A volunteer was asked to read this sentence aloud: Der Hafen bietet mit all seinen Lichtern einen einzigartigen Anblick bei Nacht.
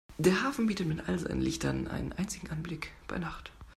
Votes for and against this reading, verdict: 0, 2, rejected